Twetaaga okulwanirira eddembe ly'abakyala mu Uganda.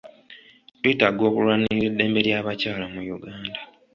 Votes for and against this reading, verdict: 2, 0, accepted